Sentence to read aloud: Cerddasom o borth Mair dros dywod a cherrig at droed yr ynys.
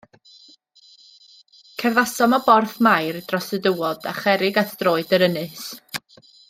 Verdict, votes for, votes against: rejected, 1, 2